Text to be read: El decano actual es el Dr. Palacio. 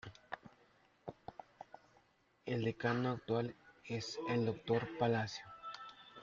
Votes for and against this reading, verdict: 1, 2, rejected